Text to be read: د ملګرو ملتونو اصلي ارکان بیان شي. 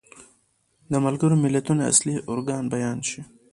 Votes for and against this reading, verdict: 0, 2, rejected